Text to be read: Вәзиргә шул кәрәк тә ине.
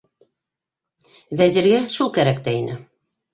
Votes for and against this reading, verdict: 2, 0, accepted